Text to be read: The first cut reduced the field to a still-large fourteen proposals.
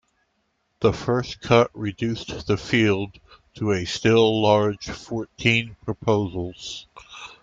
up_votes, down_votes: 2, 0